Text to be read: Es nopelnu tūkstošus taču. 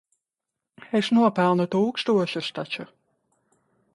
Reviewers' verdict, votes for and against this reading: rejected, 1, 2